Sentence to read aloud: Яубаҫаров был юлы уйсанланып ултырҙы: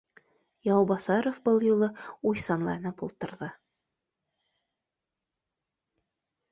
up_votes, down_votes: 2, 0